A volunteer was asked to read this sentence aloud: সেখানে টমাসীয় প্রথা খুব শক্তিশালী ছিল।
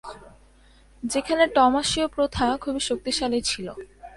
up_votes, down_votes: 0, 2